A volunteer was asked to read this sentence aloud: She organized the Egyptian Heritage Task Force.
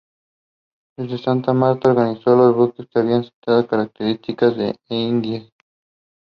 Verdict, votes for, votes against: rejected, 0, 2